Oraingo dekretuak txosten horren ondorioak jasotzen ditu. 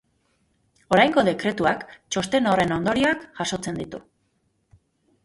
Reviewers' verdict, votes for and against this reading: accepted, 2, 0